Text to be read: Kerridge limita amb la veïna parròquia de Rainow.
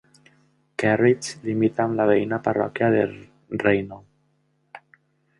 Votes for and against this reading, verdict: 0, 2, rejected